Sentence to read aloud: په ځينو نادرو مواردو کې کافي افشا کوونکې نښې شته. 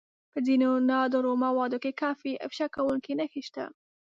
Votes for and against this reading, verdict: 1, 2, rejected